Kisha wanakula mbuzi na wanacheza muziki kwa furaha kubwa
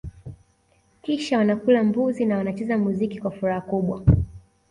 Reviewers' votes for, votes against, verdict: 2, 0, accepted